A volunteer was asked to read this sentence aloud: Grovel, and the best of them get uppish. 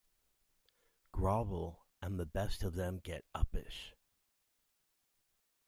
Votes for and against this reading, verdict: 2, 0, accepted